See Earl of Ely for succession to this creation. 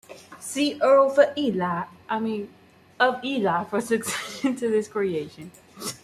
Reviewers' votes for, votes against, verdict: 1, 2, rejected